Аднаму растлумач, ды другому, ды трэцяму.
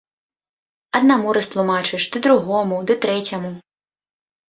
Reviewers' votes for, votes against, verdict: 1, 2, rejected